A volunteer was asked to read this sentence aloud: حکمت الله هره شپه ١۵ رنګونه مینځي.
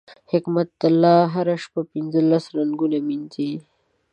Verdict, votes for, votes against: rejected, 0, 2